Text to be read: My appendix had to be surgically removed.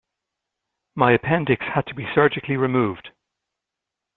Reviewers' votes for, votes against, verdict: 2, 0, accepted